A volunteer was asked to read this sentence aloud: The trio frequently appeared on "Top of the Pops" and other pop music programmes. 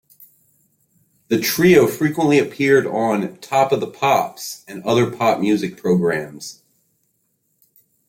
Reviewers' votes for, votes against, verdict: 2, 0, accepted